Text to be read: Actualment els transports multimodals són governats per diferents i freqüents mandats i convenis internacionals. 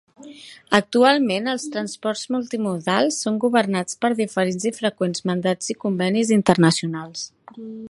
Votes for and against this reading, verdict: 2, 0, accepted